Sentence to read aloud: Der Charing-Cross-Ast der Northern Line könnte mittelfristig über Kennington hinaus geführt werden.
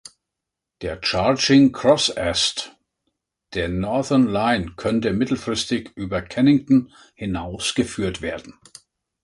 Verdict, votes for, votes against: rejected, 1, 3